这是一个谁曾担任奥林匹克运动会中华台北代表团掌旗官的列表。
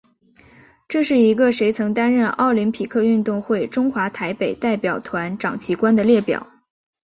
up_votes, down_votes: 1, 2